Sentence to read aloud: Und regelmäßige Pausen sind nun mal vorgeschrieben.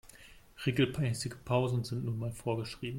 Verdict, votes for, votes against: rejected, 0, 2